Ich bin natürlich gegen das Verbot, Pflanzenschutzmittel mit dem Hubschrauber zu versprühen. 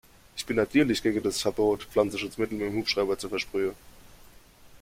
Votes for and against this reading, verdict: 2, 1, accepted